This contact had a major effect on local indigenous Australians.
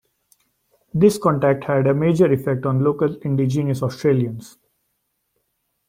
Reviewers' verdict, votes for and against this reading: accepted, 2, 0